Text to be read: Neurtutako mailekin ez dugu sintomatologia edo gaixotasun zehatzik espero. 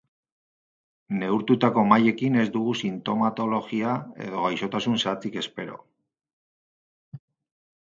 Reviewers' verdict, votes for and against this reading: rejected, 0, 2